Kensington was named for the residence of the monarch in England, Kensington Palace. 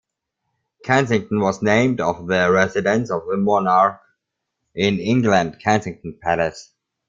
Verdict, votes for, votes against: rejected, 0, 2